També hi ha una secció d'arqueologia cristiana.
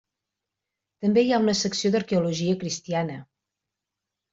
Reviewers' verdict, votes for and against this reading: accepted, 3, 0